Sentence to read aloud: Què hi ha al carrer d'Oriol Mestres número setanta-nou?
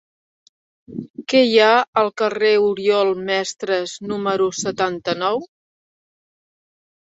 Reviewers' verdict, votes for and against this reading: rejected, 0, 2